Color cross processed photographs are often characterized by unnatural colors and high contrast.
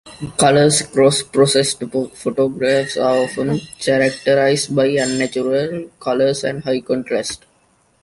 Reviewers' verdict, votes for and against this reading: accepted, 2, 1